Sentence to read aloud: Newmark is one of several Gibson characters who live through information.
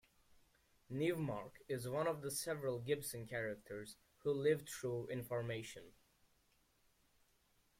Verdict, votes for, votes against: rejected, 2, 3